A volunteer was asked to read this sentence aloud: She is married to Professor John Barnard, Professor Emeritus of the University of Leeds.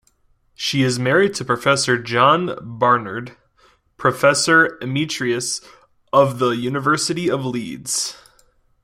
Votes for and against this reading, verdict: 0, 2, rejected